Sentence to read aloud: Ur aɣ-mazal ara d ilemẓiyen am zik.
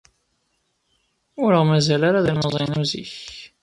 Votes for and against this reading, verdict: 1, 2, rejected